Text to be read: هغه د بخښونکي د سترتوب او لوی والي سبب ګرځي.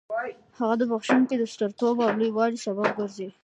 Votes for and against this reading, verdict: 0, 2, rejected